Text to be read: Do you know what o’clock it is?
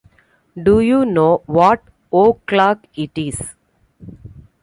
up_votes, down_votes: 2, 1